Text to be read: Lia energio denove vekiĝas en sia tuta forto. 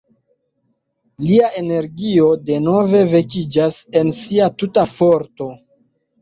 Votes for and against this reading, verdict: 2, 1, accepted